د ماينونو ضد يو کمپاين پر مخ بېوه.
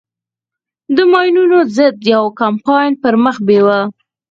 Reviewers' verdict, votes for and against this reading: rejected, 0, 4